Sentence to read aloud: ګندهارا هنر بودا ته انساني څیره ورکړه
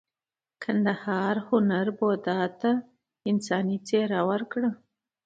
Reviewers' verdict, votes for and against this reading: rejected, 0, 2